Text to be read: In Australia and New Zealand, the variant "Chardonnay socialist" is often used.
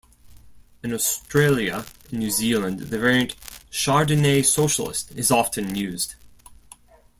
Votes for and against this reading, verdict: 2, 0, accepted